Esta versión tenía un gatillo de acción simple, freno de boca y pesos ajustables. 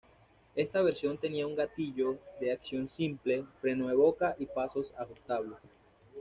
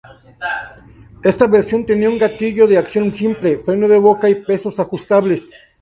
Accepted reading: second